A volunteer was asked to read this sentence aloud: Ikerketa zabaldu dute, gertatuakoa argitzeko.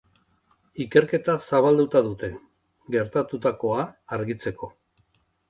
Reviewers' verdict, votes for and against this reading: rejected, 0, 3